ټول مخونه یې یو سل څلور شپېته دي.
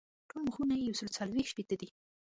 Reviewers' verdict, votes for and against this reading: rejected, 1, 2